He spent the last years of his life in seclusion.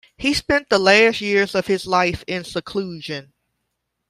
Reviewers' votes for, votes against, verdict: 0, 2, rejected